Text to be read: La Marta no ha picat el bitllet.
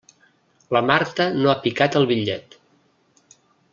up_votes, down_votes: 3, 0